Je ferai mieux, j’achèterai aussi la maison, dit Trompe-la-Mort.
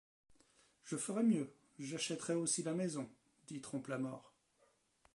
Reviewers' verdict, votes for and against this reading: rejected, 1, 2